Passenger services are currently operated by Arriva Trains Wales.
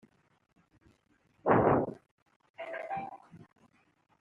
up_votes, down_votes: 1, 2